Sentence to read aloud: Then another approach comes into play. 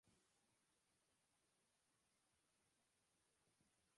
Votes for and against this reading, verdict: 0, 2, rejected